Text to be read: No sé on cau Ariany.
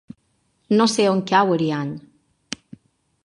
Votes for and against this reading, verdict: 2, 0, accepted